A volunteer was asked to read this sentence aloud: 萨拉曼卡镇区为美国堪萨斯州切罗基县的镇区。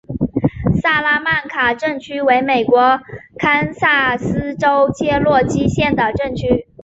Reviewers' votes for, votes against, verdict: 3, 0, accepted